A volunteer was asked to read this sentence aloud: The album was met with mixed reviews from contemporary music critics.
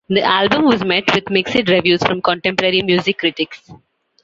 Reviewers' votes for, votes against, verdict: 2, 0, accepted